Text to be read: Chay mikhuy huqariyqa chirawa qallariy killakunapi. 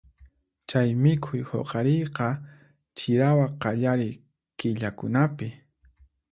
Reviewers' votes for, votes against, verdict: 4, 0, accepted